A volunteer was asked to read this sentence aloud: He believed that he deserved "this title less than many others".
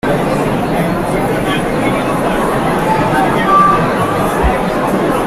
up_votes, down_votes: 0, 2